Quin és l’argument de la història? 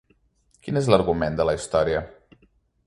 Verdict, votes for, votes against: accepted, 3, 0